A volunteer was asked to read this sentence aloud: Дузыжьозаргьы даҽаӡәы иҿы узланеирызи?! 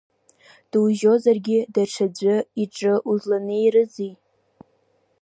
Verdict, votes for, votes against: accepted, 2, 1